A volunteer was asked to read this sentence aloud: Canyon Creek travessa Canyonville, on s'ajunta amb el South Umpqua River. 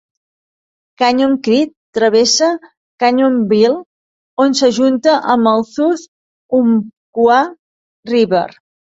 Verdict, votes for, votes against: accepted, 2, 0